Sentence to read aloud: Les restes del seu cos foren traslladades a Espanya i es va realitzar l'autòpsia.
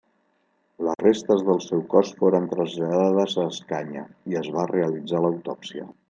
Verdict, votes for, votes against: rejected, 0, 2